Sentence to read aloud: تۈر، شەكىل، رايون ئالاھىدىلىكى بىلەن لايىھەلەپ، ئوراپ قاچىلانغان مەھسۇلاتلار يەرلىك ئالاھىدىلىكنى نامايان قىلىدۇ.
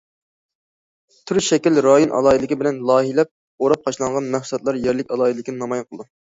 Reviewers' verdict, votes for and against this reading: accepted, 2, 1